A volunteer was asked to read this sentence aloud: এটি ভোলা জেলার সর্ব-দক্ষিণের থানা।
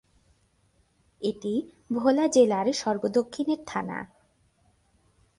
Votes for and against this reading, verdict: 2, 0, accepted